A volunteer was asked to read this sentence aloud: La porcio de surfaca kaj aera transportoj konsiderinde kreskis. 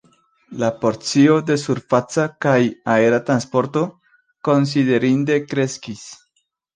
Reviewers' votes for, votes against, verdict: 1, 2, rejected